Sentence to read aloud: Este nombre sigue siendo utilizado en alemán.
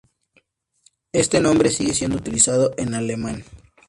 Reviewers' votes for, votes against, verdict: 2, 0, accepted